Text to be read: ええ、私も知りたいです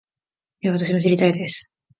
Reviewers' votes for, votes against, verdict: 1, 2, rejected